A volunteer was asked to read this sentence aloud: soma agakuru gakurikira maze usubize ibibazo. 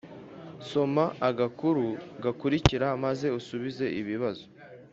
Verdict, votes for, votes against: accepted, 3, 0